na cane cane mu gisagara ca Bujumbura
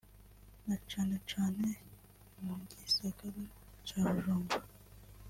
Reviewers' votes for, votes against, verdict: 2, 1, accepted